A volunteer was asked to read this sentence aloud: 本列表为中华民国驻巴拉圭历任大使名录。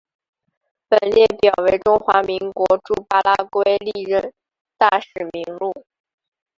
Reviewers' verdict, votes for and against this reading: rejected, 1, 3